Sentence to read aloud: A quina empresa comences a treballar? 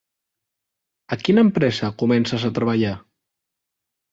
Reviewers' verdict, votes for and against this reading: accepted, 5, 0